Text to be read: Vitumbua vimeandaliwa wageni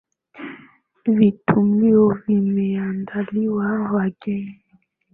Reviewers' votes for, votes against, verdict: 0, 2, rejected